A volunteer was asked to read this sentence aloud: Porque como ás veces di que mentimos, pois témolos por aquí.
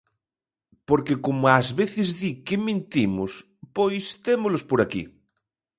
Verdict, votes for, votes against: accepted, 2, 0